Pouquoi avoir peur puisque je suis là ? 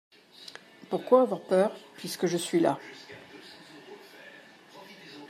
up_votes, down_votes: 2, 0